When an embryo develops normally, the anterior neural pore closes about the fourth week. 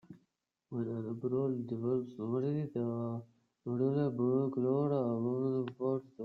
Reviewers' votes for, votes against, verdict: 0, 2, rejected